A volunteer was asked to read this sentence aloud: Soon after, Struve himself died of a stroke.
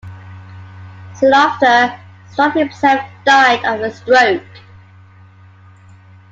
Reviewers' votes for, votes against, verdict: 2, 0, accepted